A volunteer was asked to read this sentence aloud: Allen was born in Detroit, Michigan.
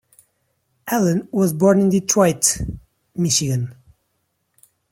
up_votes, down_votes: 0, 2